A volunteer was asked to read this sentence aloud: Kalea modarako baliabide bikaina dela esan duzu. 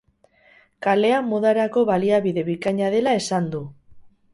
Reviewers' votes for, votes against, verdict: 0, 4, rejected